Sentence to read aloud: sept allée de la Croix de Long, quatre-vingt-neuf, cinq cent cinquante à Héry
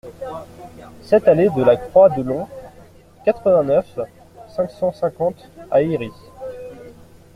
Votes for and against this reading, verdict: 2, 0, accepted